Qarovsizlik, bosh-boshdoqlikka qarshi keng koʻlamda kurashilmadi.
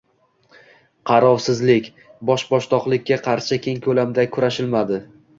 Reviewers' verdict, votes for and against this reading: accepted, 2, 1